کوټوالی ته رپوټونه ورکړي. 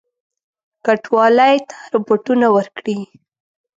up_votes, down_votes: 1, 2